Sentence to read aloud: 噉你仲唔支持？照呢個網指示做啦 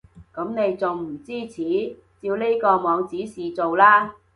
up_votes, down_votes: 2, 0